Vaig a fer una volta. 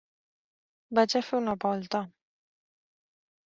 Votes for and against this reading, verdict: 3, 1, accepted